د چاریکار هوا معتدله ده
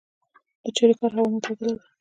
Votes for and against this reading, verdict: 2, 1, accepted